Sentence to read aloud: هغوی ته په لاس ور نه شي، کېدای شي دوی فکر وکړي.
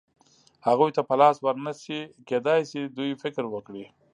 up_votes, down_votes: 2, 0